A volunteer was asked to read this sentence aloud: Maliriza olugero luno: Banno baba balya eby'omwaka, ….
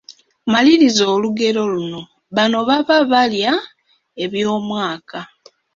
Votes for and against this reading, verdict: 2, 0, accepted